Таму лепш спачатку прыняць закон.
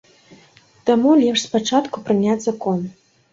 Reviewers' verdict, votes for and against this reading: accepted, 2, 0